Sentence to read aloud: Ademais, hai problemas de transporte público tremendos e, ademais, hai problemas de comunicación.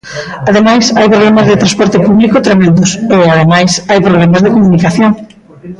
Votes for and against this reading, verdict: 0, 2, rejected